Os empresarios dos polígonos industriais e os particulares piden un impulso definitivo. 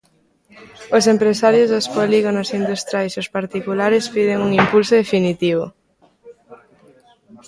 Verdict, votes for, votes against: rejected, 1, 2